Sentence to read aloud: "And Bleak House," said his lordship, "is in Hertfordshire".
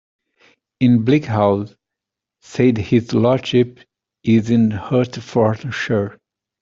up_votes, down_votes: 1, 2